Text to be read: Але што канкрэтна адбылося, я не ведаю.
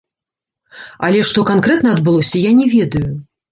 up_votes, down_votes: 2, 0